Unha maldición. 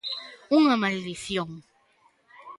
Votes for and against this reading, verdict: 2, 0, accepted